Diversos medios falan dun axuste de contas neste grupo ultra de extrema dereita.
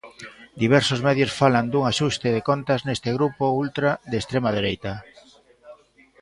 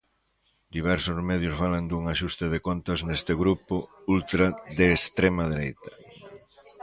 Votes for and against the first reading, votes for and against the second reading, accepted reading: 0, 2, 2, 0, second